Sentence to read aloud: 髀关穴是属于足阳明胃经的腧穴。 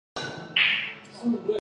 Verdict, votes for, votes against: rejected, 0, 2